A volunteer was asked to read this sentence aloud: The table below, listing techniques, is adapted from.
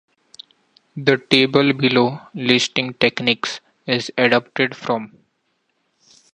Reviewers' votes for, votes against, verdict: 2, 0, accepted